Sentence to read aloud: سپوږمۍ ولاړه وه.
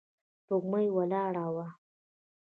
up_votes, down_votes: 2, 0